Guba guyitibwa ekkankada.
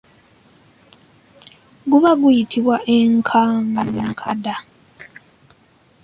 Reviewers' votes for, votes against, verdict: 0, 2, rejected